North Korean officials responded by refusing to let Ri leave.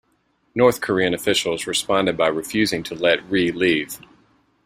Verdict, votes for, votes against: accepted, 2, 0